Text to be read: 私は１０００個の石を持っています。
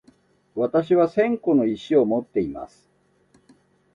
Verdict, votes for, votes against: rejected, 0, 2